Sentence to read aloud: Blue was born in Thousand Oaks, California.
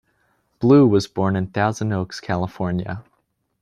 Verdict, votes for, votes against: accepted, 2, 0